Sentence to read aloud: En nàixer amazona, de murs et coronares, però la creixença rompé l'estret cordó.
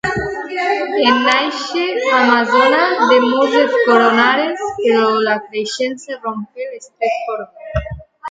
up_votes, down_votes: 1, 2